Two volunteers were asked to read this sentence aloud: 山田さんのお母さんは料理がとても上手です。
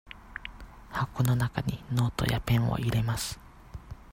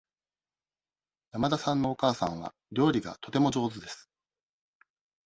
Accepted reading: second